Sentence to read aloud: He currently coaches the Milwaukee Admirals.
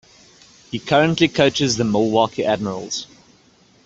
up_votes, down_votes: 2, 0